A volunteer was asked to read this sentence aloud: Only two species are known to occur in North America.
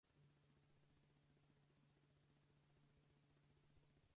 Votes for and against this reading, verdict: 0, 4, rejected